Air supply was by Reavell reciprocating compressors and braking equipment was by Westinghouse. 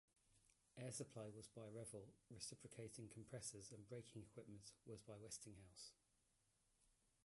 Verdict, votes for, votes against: rejected, 0, 2